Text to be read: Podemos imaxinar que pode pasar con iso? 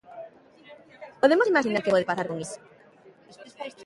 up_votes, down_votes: 2, 0